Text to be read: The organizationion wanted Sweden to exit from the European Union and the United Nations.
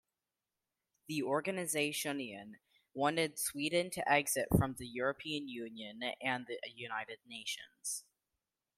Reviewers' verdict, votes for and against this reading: accepted, 2, 0